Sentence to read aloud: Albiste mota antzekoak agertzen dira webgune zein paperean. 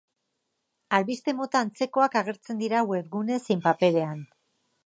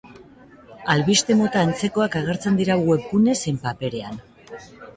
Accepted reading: first